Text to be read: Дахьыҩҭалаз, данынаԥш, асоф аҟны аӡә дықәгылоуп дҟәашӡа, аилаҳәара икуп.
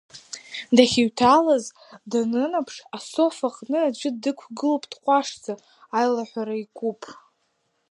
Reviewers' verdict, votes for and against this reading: rejected, 0, 2